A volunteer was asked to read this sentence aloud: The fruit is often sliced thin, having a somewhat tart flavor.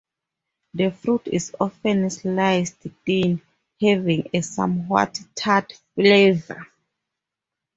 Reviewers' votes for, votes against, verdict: 0, 4, rejected